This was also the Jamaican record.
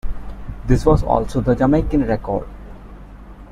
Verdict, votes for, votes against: accepted, 2, 0